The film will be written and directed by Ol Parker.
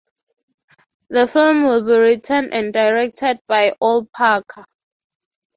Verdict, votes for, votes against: accepted, 3, 0